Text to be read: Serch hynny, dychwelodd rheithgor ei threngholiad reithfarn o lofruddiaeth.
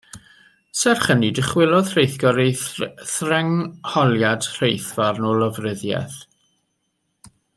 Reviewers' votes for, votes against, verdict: 2, 1, accepted